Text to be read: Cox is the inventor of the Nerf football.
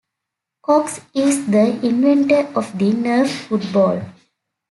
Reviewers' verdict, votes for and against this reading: accepted, 2, 0